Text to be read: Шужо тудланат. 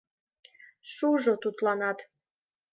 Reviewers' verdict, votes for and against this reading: accepted, 2, 0